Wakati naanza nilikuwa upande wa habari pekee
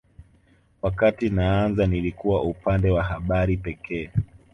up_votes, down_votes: 3, 0